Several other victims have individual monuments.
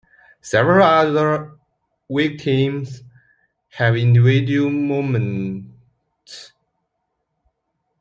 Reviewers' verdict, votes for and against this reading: rejected, 0, 2